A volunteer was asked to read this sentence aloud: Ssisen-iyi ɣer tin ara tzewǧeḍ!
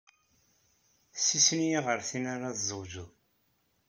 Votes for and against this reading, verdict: 2, 0, accepted